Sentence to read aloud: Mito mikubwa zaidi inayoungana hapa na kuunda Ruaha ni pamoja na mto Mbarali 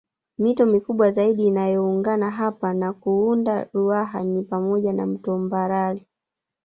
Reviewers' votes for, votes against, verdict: 3, 0, accepted